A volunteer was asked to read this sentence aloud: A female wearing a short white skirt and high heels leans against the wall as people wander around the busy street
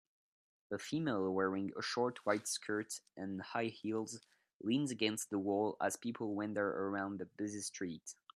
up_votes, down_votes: 2, 3